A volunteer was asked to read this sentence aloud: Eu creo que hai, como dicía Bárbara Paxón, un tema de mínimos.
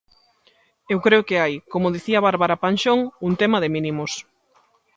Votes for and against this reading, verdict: 1, 2, rejected